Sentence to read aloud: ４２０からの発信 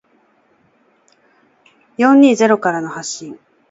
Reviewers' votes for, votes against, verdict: 0, 2, rejected